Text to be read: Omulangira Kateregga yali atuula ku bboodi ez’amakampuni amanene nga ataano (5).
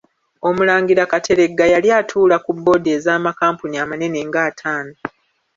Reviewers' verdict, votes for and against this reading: rejected, 0, 2